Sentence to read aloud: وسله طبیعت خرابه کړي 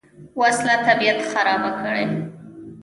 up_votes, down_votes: 1, 2